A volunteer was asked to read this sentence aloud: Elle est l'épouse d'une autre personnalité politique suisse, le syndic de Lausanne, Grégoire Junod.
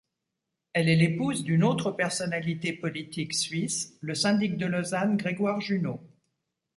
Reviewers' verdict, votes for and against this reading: accepted, 2, 0